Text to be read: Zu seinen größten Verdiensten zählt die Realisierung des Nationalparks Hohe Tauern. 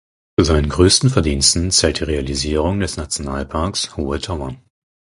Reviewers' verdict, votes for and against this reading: rejected, 2, 4